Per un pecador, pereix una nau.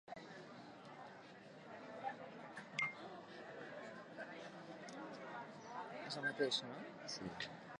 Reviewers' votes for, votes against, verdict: 0, 3, rejected